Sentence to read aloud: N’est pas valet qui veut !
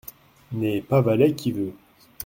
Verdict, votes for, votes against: accepted, 2, 0